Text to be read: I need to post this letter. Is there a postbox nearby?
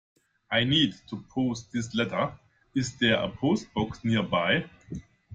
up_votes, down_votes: 2, 0